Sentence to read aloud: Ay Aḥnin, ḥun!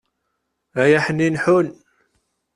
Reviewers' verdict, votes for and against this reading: accepted, 2, 0